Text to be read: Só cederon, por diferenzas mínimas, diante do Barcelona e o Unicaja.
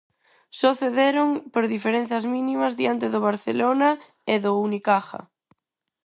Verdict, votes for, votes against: rejected, 0, 4